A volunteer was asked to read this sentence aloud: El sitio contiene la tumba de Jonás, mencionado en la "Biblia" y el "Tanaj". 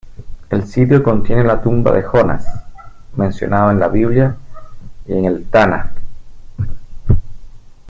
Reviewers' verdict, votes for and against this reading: rejected, 1, 2